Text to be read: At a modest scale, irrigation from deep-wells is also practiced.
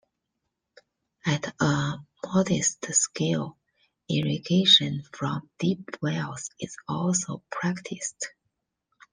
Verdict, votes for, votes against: rejected, 1, 2